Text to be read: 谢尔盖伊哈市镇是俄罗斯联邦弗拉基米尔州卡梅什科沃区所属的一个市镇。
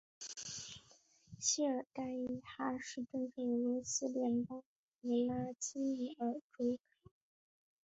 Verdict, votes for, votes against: rejected, 0, 2